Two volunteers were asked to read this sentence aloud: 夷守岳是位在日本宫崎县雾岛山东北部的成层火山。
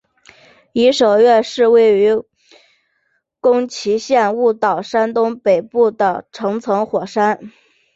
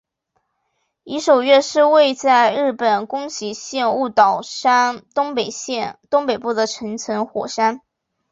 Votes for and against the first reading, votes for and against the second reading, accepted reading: 4, 2, 1, 2, first